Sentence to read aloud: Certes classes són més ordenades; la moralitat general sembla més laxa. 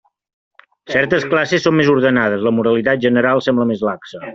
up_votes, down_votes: 3, 0